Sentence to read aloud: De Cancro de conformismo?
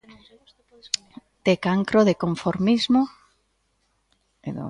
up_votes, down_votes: 0, 2